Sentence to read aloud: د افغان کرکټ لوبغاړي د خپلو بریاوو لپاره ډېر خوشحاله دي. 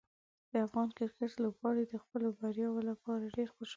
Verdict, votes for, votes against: rejected, 0, 2